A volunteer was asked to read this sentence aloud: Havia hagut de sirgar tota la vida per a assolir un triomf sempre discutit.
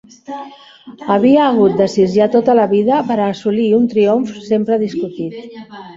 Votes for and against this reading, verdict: 0, 2, rejected